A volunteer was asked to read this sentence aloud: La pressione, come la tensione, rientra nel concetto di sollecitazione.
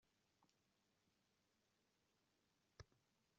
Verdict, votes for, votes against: rejected, 0, 2